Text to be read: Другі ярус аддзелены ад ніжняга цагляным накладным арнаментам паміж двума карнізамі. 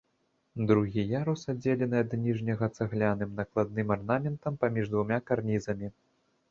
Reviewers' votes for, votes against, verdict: 1, 2, rejected